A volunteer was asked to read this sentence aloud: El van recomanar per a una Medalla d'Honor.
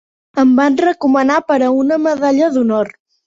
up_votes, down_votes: 1, 2